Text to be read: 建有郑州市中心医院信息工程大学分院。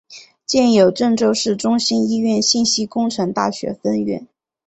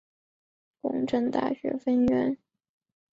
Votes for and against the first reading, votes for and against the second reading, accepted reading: 2, 1, 0, 2, first